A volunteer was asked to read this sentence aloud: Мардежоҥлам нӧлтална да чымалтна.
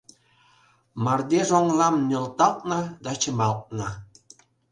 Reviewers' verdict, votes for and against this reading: rejected, 1, 2